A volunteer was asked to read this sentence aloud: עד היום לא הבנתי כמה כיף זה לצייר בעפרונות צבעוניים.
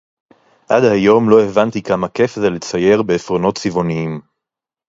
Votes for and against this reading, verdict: 4, 0, accepted